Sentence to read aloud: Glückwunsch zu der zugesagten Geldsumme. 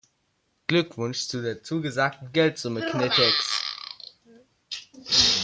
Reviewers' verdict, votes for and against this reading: rejected, 1, 2